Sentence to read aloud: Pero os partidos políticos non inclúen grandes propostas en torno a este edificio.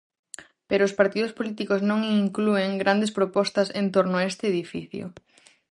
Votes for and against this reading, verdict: 4, 0, accepted